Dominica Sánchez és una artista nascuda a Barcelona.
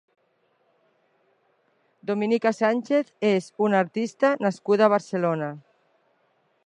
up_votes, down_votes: 3, 0